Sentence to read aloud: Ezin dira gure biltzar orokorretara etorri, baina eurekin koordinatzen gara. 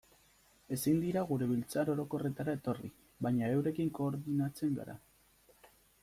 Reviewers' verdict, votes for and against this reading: accepted, 2, 0